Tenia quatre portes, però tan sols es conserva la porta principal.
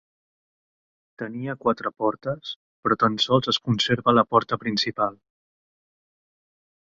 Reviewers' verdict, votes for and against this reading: accepted, 3, 0